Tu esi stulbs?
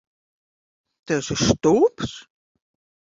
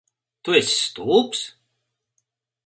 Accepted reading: second